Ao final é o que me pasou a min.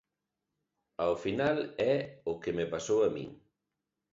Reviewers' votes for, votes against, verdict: 2, 0, accepted